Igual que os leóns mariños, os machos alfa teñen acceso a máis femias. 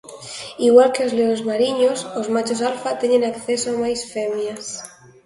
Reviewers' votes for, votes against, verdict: 2, 0, accepted